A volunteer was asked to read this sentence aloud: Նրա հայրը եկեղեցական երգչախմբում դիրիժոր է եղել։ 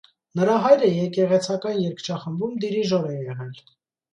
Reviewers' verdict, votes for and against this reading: accepted, 2, 0